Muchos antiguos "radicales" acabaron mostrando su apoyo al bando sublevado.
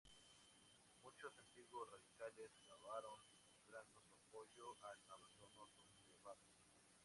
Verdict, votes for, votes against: rejected, 0, 4